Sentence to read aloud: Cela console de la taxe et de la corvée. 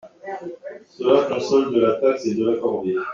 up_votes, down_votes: 1, 2